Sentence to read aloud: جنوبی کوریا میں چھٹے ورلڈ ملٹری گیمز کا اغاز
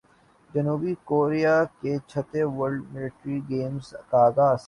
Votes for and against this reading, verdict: 2, 0, accepted